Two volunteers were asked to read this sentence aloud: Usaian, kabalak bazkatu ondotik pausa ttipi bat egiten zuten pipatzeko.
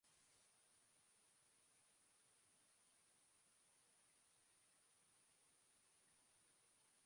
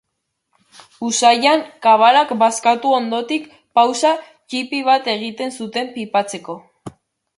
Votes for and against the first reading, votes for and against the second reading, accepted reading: 0, 2, 2, 0, second